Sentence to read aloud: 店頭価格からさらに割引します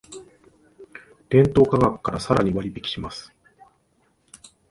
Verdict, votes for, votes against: accepted, 2, 0